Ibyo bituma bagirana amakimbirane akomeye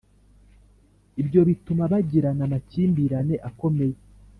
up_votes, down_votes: 2, 0